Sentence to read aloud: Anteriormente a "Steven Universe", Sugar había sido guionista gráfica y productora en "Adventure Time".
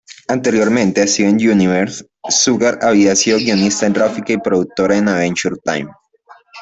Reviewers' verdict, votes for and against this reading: accepted, 3, 2